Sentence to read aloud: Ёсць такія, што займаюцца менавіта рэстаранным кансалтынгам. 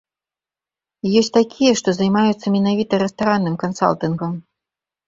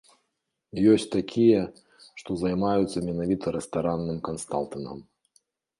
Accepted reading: first